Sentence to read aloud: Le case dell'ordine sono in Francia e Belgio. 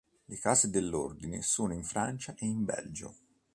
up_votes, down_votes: 0, 2